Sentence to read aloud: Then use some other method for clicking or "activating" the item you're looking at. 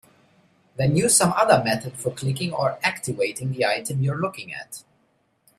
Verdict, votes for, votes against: accepted, 3, 0